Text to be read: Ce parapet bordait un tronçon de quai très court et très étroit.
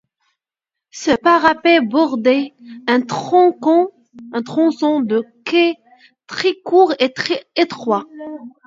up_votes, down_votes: 0, 2